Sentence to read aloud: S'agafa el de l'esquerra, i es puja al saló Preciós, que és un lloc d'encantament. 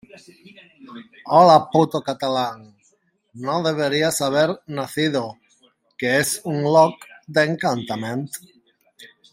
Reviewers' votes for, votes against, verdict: 0, 2, rejected